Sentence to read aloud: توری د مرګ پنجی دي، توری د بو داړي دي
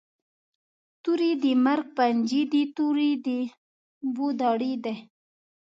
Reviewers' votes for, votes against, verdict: 0, 2, rejected